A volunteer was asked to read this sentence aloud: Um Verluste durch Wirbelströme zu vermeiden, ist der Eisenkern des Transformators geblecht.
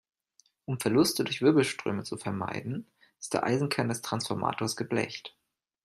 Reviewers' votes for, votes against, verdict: 2, 0, accepted